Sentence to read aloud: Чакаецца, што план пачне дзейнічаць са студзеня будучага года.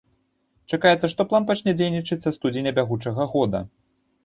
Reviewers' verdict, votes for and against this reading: rejected, 1, 2